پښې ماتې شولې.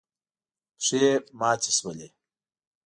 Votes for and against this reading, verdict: 2, 0, accepted